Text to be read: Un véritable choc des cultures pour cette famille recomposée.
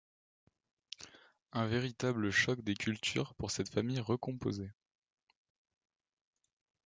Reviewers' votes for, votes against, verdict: 2, 0, accepted